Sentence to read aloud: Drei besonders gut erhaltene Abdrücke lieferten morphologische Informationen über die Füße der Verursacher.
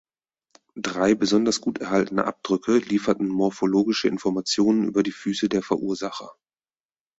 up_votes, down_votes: 4, 0